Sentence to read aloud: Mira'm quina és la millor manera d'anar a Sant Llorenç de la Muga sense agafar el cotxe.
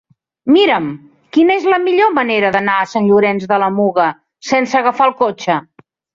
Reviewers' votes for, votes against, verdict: 1, 2, rejected